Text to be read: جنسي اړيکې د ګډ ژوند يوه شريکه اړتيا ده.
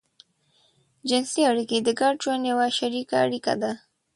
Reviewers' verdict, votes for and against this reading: rejected, 0, 2